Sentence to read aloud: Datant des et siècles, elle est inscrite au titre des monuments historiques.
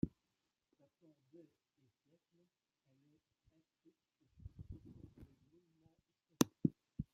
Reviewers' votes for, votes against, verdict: 1, 2, rejected